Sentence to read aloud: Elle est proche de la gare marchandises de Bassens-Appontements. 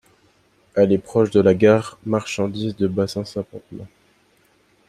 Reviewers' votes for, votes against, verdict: 1, 2, rejected